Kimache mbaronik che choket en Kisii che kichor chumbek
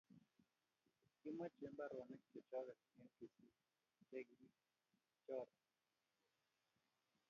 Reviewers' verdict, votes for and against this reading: rejected, 1, 2